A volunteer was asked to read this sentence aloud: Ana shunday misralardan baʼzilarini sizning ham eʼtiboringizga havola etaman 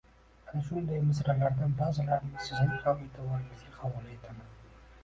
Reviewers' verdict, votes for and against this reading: accepted, 2, 0